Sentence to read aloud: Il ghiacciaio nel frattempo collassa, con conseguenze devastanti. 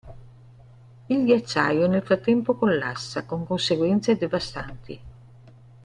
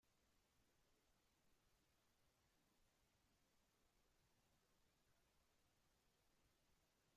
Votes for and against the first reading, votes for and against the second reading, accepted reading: 3, 0, 0, 2, first